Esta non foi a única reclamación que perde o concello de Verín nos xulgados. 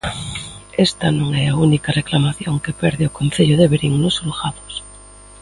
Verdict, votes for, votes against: rejected, 0, 2